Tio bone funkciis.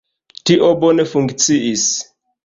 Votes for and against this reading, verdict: 2, 1, accepted